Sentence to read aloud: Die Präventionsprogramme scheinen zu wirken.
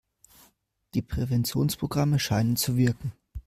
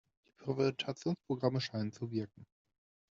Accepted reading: first